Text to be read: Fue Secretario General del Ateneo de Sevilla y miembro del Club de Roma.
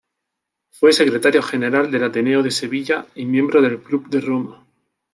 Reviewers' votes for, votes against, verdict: 3, 0, accepted